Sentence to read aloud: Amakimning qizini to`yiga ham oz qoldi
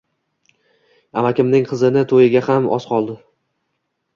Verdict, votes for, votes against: rejected, 0, 2